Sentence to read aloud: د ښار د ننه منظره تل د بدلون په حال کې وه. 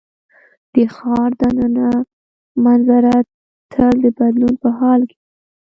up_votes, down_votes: 2, 1